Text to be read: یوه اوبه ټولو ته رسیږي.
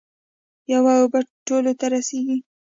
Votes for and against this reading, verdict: 2, 0, accepted